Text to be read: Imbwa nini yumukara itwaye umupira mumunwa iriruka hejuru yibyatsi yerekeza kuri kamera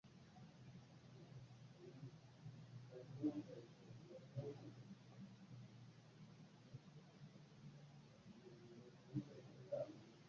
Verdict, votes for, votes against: rejected, 0, 2